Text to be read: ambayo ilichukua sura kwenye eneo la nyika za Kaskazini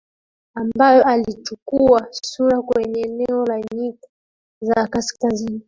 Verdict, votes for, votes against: rejected, 1, 2